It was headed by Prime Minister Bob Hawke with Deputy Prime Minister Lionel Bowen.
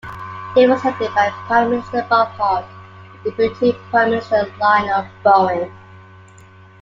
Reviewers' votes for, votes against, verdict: 0, 2, rejected